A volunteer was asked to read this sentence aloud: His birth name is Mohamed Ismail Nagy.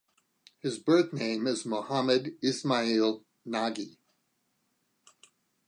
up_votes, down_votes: 2, 0